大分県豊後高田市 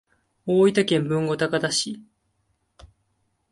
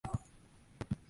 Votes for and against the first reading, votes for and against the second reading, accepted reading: 2, 1, 1, 2, first